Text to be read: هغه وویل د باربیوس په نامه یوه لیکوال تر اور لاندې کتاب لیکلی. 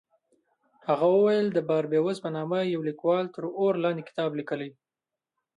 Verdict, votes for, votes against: rejected, 0, 2